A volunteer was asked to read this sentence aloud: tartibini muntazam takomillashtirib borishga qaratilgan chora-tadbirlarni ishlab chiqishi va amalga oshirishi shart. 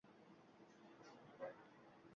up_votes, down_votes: 1, 2